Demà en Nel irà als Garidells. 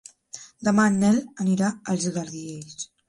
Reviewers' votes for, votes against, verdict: 1, 3, rejected